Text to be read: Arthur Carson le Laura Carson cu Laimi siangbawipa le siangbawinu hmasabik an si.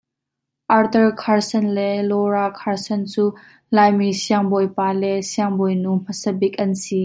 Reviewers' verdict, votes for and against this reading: accepted, 2, 0